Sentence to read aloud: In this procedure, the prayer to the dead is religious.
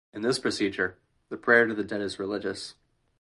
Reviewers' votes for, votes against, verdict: 0, 2, rejected